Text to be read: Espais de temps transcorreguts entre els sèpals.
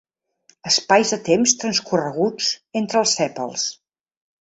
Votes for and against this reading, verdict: 2, 0, accepted